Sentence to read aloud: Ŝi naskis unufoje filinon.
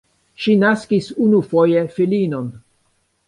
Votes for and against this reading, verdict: 2, 1, accepted